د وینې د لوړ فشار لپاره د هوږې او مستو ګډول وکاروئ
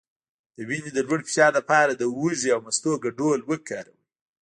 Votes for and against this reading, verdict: 2, 0, accepted